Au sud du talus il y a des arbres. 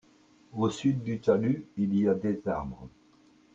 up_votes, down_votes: 2, 0